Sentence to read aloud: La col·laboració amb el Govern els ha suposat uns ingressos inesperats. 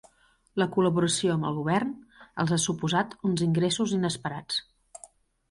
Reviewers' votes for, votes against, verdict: 3, 0, accepted